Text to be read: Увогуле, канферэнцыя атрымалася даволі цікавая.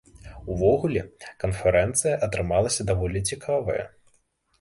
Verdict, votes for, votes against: rejected, 0, 2